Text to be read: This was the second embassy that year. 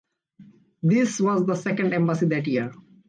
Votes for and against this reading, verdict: 2, 0, accepted